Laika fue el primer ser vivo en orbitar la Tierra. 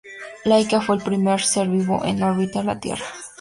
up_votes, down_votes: 2, 0